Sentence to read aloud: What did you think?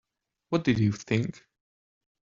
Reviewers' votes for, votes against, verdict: 2, 1, accepted